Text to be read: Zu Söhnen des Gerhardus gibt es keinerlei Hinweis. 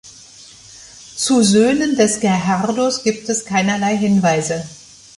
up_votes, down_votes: 1, 3